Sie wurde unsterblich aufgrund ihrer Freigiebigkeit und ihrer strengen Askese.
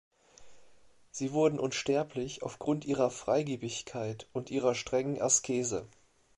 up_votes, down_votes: 0, 2